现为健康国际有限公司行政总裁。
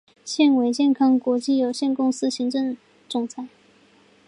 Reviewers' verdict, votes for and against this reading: accepted, 3, 0